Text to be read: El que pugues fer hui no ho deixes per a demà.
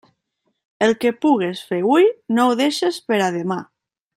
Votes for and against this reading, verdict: 2, 0, accepted